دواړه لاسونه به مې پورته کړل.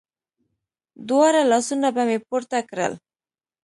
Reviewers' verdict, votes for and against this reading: accepted, 2, 0